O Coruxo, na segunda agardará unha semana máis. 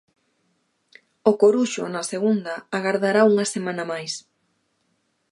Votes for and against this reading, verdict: 2, 0, accepted